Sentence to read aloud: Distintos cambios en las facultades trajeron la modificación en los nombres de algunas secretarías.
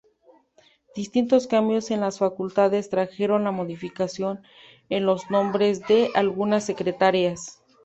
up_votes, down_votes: 2, 2